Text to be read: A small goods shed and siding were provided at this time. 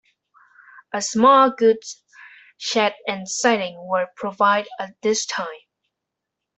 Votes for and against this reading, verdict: 0, 2, rejected